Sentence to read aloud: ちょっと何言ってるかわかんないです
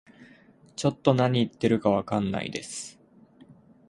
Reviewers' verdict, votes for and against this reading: accepted, 2, 0